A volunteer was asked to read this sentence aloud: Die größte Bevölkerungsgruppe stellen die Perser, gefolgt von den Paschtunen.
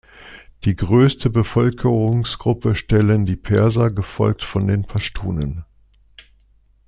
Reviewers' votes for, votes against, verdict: 2, 0, accepted